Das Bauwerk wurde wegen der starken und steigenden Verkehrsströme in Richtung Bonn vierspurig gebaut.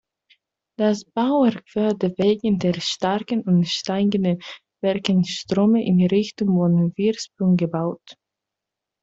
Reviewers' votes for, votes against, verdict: 0, 2, rejected